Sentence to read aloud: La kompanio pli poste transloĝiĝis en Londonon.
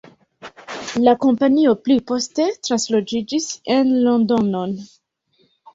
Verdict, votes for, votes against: accepted, 2, 0